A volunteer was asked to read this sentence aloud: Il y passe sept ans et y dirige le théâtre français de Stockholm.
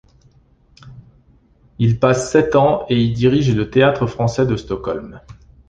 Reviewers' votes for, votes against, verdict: 1, 2, rejected